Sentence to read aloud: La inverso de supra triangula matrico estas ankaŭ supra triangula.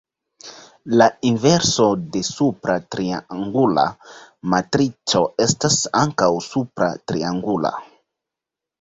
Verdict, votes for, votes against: accepted, 2, 0